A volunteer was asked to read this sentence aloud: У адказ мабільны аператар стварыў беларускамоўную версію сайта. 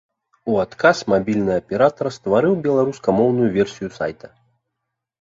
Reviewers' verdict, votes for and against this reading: accepted, 2, 0